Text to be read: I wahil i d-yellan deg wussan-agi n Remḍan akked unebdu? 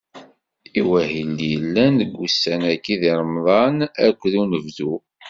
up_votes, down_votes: 0, 2